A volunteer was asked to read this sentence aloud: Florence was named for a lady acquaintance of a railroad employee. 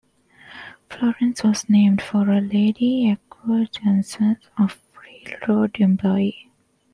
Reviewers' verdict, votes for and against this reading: rejected, 0, 2